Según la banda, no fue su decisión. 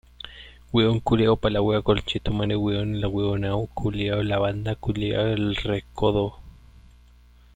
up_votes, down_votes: 0, 2